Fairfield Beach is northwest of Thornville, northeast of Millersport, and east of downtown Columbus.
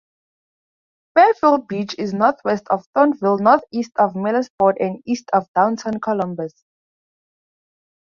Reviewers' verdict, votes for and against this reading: rejected, 2, 2